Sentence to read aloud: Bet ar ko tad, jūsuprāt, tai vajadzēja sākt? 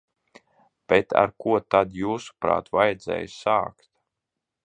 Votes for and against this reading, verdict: 0, 2, rejected